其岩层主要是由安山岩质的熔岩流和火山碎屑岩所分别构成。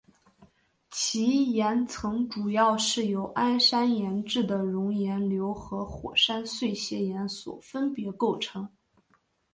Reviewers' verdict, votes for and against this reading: accepted, 3, 1